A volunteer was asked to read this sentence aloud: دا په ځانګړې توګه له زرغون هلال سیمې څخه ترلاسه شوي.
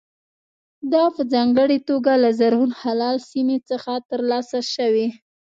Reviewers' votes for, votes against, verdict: 2, 0, accepted